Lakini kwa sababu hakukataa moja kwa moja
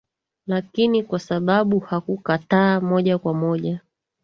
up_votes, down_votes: 2, 0